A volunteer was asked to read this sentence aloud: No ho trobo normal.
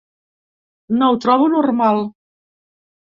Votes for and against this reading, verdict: 2, 0, accepted